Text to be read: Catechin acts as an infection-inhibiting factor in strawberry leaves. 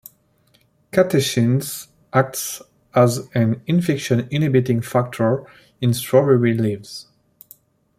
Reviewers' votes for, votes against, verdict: 2, 1, accepted